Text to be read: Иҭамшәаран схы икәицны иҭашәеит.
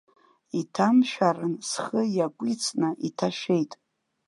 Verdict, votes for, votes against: rejected, 1, 2